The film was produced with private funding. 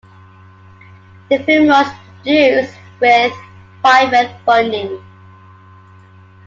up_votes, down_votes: 2, 0